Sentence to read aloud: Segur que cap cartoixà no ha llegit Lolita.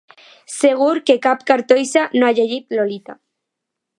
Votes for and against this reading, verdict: 1, 2, rejected